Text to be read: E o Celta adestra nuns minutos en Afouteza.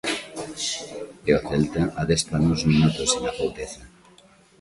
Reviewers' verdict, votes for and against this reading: accepted, 2, 0